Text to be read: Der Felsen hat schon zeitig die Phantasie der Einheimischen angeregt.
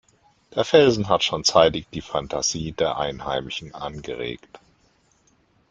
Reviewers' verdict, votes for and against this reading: accepted, 2, 0